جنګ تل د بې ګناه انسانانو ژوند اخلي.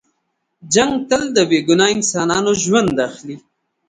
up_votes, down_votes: 3, 0